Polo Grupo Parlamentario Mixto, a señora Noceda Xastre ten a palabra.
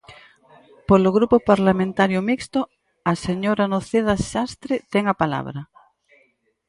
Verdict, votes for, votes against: accepted, 4, 0